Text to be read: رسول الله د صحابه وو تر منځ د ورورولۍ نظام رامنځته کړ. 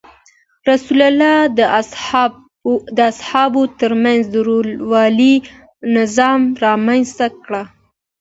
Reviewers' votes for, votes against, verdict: 2, 0, accepted